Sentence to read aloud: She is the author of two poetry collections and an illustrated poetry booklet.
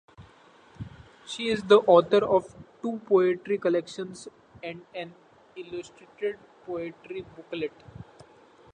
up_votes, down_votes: 3, 0